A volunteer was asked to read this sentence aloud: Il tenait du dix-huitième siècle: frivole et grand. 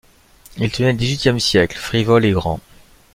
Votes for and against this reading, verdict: 1, 3, rejected